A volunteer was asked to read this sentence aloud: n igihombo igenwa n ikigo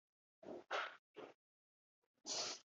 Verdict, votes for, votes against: rejected, 1, 2